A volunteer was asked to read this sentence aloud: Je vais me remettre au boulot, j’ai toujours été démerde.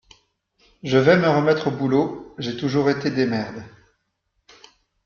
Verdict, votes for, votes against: accepted, 2, 0